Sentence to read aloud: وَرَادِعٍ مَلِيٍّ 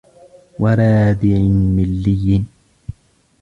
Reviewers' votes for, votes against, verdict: 3, 1, accepted